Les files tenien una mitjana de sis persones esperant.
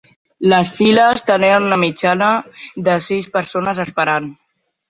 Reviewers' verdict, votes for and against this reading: accepted, 2, 1